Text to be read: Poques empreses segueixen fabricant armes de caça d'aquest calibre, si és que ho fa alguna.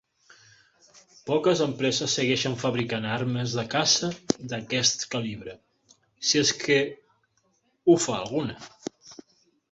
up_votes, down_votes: 3, 0